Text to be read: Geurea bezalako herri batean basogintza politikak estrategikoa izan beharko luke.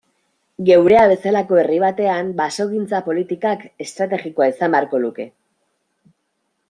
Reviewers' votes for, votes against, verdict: 2, 0, accepted